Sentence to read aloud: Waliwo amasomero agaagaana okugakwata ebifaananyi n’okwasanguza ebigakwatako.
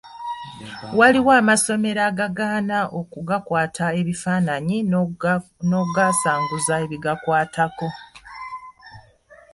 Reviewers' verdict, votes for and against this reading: rejected, 0, 2